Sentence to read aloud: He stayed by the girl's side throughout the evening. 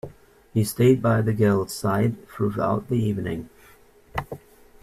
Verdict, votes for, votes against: accepted, 2, 1